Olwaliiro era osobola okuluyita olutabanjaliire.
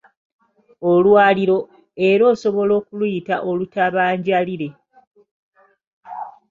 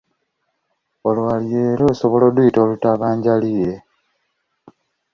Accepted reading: second